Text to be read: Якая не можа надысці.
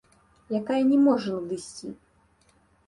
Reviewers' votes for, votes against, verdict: 3, 0, accepted